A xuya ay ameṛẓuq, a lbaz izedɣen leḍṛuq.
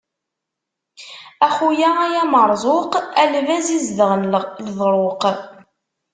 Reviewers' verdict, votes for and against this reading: rejected, 1, 2